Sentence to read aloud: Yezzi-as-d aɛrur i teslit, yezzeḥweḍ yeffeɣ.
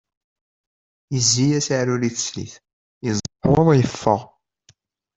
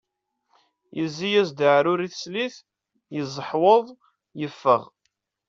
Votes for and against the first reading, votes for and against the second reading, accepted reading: 0, 2, 2, 0, second